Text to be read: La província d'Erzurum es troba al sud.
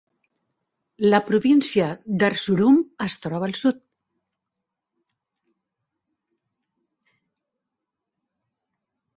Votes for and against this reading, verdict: 0, 2, rejected